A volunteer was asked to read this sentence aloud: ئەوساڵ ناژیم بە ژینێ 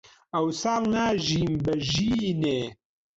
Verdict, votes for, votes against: rejected, 1, 2